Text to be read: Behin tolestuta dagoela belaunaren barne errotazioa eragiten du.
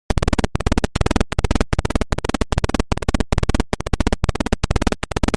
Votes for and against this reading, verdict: 0, 2, rejected